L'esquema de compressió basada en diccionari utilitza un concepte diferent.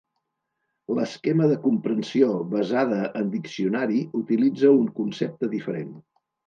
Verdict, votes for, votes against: rejected, 0, 2